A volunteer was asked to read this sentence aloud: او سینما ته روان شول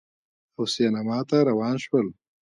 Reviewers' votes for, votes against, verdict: 2, 1, accepted